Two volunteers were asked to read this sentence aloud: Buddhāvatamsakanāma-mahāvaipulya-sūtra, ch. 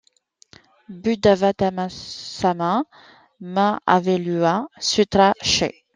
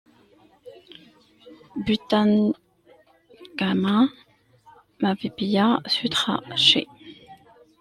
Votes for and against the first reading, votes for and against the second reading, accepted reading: 2, 0, 0, 2, first